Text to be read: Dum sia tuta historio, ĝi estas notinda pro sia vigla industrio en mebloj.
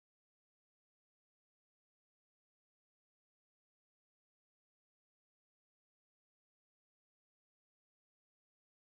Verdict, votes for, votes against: rejected, 1, 2